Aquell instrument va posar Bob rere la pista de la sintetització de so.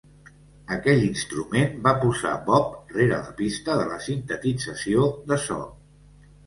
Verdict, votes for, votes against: rejected, 1, 2